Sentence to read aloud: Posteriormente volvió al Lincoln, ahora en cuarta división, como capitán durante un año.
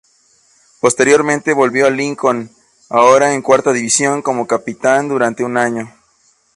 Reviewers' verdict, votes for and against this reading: accepted, 2, 0